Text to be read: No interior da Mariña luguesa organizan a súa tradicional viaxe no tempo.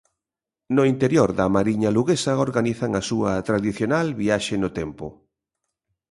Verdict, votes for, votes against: accepted, 2, 0